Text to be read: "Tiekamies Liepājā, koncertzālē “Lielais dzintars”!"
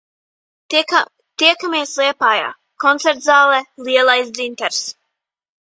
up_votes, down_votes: 0, 2